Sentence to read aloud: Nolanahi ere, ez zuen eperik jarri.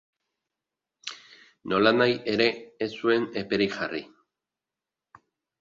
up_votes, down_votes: 4, 0